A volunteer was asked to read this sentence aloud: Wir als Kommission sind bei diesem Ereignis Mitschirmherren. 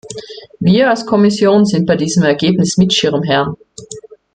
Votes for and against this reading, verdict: 2, 0, accepted